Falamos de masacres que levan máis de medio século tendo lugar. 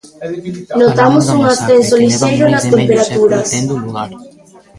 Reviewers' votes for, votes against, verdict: 0, 2, rejected